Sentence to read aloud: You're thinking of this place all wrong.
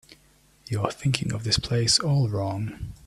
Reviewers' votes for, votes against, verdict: 2, 0, accepted